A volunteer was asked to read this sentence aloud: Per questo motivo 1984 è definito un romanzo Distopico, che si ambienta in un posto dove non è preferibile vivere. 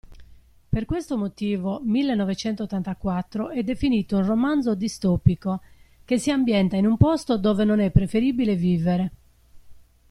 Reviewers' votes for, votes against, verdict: 0, 2, rejected